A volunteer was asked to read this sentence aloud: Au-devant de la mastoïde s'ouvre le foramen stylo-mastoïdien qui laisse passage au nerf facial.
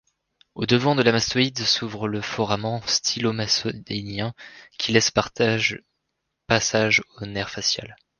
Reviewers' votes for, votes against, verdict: 1, 2, rejected